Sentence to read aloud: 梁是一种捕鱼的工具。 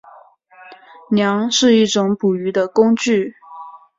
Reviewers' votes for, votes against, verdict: 5, 0, accepted